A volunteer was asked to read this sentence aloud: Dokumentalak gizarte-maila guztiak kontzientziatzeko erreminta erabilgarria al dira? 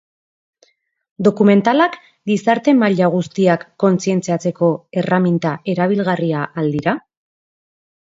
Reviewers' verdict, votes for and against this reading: accepted, 2, 0